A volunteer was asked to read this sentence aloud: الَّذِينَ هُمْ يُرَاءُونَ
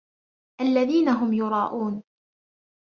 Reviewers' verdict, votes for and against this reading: accepted, 2, 0